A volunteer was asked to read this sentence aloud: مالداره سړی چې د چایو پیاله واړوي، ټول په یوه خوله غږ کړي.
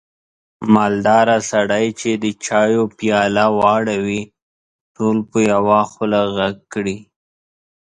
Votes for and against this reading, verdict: 2, 0, accepted